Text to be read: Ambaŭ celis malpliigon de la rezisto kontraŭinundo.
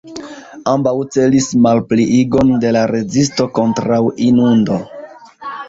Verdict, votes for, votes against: rejected, 1, 2